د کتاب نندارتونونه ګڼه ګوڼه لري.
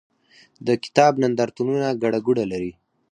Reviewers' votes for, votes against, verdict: 4, 0, accepted